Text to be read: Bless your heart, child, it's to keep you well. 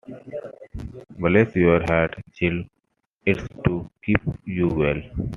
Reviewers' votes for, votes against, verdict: 2, 0, accepted